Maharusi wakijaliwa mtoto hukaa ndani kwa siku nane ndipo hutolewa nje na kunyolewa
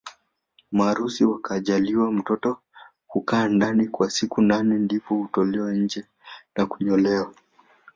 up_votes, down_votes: 0, 2